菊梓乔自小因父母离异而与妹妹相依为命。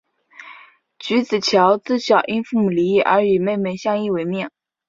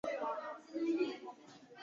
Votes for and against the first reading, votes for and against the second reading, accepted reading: 8, 0, 0, 2, first